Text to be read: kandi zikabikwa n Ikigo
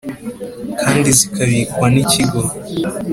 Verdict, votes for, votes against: accepted, 2, 0